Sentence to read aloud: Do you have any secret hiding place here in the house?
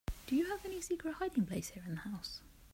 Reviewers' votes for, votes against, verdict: 2, 0, accepted